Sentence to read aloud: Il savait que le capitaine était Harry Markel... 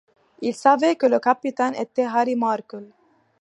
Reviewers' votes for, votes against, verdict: 2, 0, accepted